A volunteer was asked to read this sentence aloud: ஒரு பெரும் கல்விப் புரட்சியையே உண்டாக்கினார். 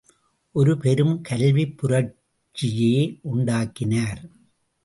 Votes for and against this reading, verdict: 0, 2, rejected